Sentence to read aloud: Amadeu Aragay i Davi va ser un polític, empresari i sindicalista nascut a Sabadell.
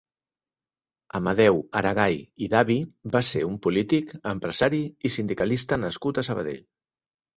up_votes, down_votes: 8, 0